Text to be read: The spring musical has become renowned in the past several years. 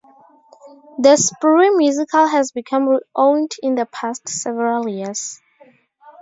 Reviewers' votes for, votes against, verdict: 2, 4, rejected